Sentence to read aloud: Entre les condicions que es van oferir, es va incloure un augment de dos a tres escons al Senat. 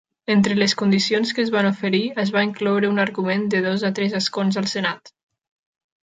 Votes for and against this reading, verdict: 0, 2, rejected